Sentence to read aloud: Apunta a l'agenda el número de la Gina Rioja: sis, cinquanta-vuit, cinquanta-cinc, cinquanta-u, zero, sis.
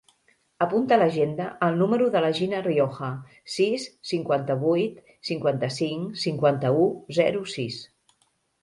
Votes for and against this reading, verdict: 2, 1, accepted